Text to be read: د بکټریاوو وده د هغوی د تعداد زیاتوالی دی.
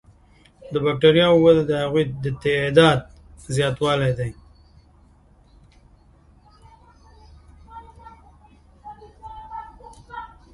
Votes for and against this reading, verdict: 0, 2, rejected